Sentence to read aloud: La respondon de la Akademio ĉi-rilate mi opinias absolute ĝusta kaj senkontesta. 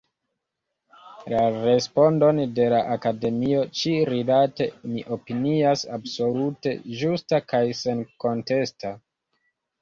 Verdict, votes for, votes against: accepted, 2, 0